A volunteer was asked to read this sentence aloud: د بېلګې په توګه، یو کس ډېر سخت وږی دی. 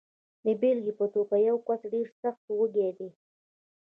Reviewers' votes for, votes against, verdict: 2, 0, accepted